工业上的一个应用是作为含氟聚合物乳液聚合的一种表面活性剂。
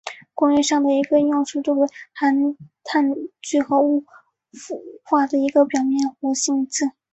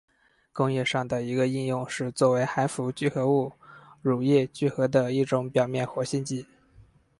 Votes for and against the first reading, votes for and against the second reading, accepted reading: 0, 3, 4, 0, second